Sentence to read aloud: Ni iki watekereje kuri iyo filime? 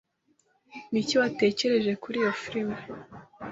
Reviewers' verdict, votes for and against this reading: accepted, 2, 0